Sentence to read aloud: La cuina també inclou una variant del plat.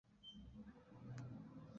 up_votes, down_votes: 0, 2